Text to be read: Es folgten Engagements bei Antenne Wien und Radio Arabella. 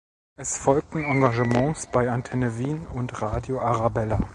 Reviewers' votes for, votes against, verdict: 2, 0, accepted